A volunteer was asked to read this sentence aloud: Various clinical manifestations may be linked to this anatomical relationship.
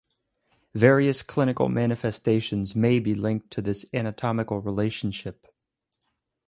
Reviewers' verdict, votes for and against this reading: accepted, 4, 2